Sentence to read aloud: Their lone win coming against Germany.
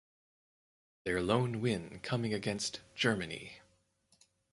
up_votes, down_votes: 4, 2